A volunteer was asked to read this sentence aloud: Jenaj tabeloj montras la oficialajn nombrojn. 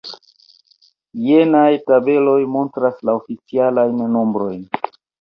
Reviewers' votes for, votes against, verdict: 0, 2, rejected